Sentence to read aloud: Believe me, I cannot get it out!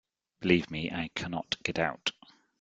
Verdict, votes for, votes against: rejected, 1, 2